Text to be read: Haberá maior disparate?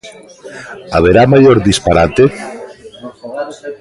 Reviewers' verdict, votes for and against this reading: rejected, 1, 2